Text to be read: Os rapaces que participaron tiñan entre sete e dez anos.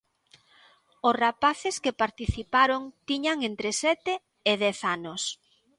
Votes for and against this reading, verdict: 2, 0, accepted